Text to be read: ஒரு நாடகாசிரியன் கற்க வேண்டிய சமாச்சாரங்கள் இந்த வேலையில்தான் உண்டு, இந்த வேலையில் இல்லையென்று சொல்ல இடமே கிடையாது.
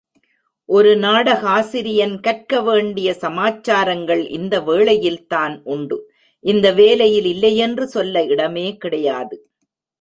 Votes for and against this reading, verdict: 1, 2, rejected